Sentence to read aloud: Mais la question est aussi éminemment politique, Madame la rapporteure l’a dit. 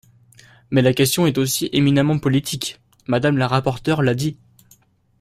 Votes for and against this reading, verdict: 2, 0, accepted